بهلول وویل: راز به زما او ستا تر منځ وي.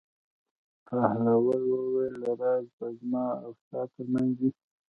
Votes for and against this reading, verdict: 2, 0, accepted